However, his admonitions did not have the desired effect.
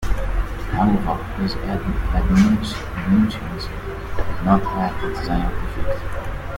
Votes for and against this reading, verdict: 0, 2, rejected